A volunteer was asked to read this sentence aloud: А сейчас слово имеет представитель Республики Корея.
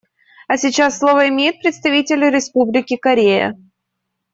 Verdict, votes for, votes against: accepted, 2, 0